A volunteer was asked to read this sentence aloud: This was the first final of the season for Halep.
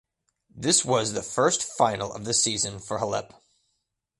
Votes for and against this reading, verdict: 2, 0, accepted